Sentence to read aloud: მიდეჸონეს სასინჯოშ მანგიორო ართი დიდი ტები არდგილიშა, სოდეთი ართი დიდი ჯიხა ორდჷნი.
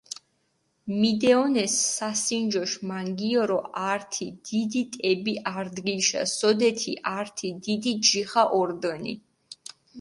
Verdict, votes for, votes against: accepted, 4, 0